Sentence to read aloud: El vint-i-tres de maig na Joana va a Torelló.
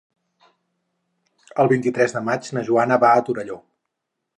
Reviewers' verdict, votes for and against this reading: accepted, 6, 0